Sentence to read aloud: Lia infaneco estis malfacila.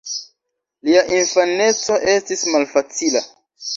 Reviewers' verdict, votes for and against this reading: rejected, 0, 2